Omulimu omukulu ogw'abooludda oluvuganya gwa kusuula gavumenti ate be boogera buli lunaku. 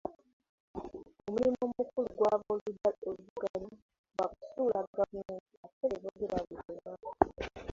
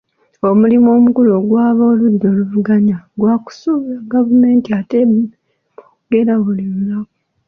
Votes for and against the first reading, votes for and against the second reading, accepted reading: 0, 2, 3, 1, second